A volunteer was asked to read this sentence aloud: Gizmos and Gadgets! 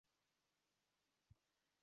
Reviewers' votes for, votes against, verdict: 0, 2, rejected